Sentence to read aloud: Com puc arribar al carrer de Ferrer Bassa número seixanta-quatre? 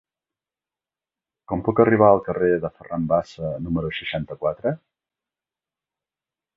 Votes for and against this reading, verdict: 2, 4, rejected